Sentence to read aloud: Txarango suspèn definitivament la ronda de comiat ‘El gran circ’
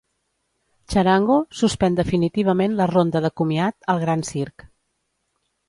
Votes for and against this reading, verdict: 3, 0, accepted